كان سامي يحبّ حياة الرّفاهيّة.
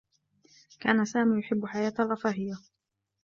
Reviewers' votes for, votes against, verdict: 2, 0, accepted